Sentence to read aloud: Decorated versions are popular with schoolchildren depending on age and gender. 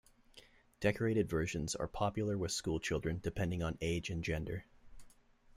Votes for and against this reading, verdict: 2, 0, accepted